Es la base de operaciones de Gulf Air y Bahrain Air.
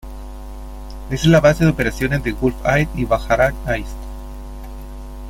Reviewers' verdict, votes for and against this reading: accepted, 3, 1